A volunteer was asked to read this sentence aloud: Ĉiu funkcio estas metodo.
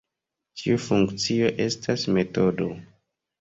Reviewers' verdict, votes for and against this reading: rejected, 1, 2